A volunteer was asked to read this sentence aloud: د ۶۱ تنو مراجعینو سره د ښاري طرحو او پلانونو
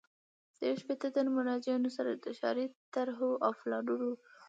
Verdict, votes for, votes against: rejected, 0, 2